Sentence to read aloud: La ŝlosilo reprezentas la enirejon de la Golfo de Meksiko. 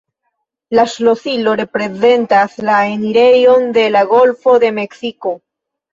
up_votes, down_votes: 2, 0